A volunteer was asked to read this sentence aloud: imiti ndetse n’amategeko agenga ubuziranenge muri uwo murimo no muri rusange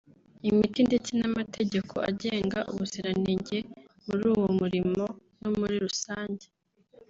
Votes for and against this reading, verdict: 1, 2, rejected